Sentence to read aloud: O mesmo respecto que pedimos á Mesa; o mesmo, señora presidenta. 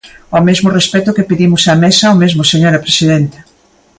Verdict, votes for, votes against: accepted, 2, 0